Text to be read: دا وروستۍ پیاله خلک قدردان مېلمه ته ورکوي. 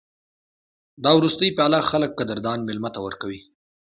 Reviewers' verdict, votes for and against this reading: accepted, 2, 0